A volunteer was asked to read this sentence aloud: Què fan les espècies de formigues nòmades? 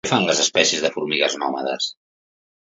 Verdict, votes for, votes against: rejected, 1, 2